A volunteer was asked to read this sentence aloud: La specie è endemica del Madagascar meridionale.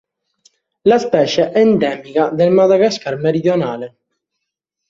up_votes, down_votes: 2, 0